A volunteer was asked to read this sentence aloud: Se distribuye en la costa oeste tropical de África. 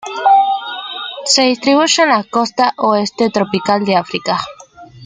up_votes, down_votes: 2, 0